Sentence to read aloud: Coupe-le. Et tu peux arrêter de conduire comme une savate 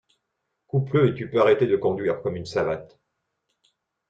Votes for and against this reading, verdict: 0, 2, rejected